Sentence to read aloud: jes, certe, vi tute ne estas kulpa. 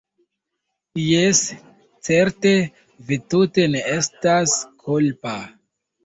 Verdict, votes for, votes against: accepted, 2, 0